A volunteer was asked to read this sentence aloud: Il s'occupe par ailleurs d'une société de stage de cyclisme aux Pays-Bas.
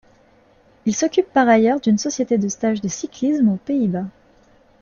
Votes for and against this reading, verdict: 2, 0, accepted